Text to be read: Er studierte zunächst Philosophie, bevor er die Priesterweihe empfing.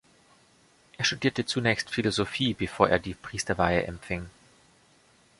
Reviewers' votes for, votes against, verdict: 2, 0, accepted